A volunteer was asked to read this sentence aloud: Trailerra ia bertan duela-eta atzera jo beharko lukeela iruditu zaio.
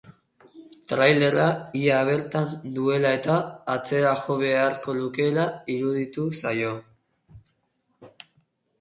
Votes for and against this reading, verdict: 4, 0, accepted